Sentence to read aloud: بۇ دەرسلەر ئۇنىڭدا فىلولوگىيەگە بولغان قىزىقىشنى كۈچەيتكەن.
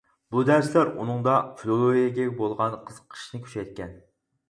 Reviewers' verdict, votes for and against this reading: rejected, 2, 4